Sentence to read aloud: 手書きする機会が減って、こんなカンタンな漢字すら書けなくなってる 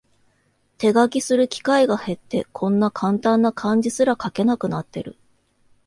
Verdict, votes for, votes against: accepted, 2, 0